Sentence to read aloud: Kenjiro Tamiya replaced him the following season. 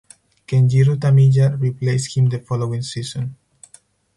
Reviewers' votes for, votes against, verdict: 4, 0, accepted